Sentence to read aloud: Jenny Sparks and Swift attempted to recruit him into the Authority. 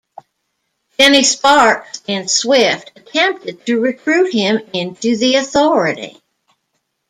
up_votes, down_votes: 0, 2